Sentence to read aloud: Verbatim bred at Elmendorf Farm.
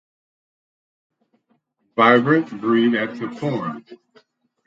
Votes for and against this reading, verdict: 0, 4, rejected